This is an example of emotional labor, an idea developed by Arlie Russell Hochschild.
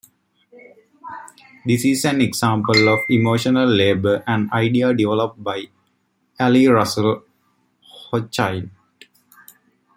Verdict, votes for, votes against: accepted, 2, 1